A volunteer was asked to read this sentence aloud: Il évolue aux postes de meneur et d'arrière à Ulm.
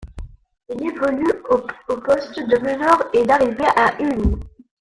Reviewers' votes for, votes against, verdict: 1, 2, rejected